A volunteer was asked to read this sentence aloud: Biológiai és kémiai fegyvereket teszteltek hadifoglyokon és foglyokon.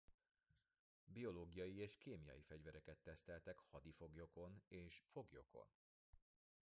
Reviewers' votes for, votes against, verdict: 2, 0, accepted